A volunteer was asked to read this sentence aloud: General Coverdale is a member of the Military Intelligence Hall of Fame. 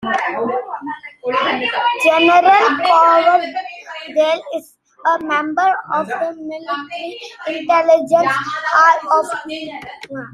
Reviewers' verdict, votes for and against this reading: rejected, 0, 3